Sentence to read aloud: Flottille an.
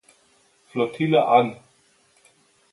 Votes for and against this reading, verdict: 2, 0, accepted